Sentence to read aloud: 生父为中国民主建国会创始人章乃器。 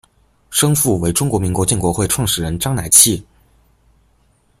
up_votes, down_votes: 2, 0